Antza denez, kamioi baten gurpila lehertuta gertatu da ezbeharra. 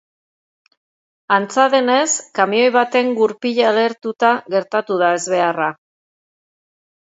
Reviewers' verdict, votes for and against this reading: accepted, 2, 0